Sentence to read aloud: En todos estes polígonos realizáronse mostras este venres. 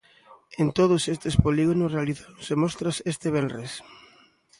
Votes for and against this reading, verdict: 2, 0, accepted